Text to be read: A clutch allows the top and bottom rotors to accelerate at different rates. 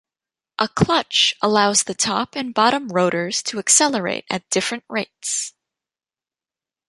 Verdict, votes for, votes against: rejected, 1, 2